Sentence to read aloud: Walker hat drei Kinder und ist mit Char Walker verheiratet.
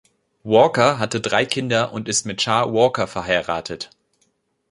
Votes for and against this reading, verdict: 0, 2, rejected